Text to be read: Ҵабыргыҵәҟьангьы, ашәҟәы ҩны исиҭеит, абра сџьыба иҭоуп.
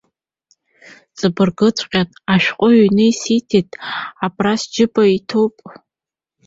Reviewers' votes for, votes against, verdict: 0, 2, rejected